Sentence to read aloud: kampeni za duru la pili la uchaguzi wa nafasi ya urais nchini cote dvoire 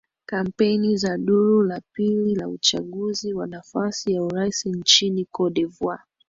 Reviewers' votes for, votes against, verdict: 2, 1, accepted